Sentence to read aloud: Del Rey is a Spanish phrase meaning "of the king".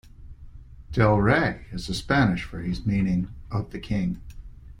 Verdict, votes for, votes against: accepted, 2, 0